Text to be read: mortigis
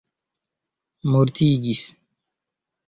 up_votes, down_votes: 2, 0